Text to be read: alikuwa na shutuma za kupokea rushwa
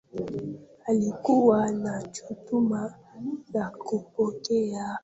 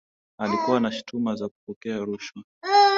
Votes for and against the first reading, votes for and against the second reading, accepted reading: 0, 2, 2, 0, second